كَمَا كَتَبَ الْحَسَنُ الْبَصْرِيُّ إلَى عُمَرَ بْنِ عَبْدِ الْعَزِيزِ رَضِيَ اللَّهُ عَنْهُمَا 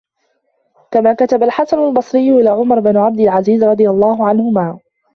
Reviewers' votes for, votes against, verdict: 2, 0, accepted